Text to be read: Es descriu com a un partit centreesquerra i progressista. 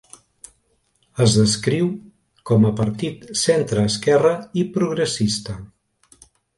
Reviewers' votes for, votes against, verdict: 1, 4, rejected